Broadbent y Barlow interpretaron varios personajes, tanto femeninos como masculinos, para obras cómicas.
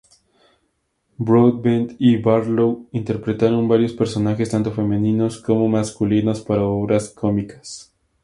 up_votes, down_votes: 2, 0